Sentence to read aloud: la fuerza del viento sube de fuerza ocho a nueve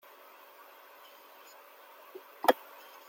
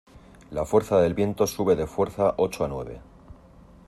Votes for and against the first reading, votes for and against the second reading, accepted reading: 0, 2, 2, 0, second